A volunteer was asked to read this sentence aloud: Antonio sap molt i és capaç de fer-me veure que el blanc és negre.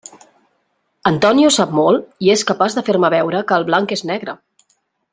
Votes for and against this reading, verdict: 3, 0, accepted